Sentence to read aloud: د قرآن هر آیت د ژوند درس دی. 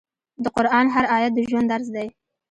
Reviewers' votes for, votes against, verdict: 1, 2, rejected